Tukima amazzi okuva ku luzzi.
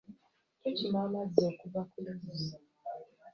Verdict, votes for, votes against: rejected, 1, 2